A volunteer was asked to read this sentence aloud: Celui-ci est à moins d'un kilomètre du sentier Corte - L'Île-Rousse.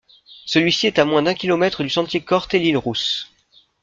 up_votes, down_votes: 0, 2